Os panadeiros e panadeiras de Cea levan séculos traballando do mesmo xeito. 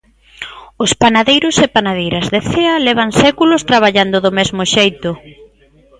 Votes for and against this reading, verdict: 2, 0, accepted